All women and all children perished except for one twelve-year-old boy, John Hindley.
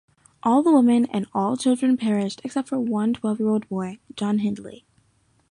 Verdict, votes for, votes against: accepted, 3, 0